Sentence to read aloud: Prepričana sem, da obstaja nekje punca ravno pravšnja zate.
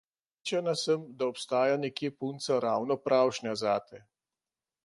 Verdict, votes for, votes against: rejected, 1, 2